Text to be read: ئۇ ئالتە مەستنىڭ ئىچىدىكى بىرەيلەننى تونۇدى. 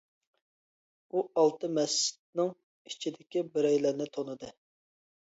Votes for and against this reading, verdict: 1, 2, rejected